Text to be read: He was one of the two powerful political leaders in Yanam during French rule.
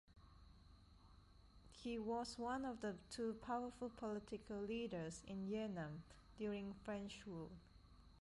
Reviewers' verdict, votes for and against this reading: accepted, 2, 0